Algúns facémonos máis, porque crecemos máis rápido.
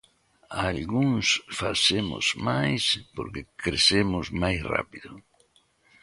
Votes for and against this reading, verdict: 0, 2, rejected